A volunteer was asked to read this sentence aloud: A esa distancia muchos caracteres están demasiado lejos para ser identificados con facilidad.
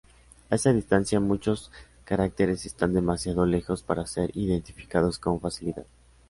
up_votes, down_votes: 2, 0